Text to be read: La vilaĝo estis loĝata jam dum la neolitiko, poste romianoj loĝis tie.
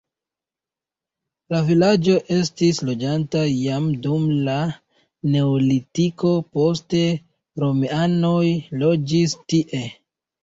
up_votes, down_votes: 0, 2